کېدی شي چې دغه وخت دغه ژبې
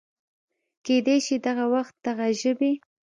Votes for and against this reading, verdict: 2, 0, accepted